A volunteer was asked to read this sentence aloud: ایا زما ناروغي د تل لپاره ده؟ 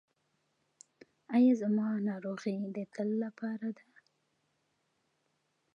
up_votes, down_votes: 2, 1